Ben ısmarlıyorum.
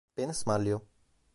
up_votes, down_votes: 2, 1